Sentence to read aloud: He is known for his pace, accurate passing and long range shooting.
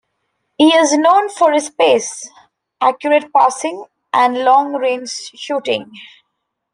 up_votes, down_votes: 2, 0